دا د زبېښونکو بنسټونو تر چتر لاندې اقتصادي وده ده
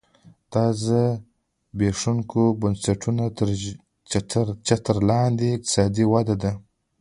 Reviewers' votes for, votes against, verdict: 1, 2, rejected